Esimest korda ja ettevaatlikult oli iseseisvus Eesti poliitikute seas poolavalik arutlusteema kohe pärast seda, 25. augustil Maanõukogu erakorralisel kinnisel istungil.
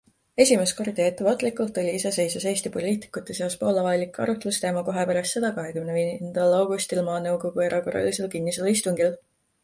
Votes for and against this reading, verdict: 0, 2, rejected